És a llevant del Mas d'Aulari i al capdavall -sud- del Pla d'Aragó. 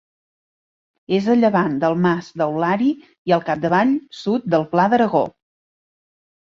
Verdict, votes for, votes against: rejected, 1, 2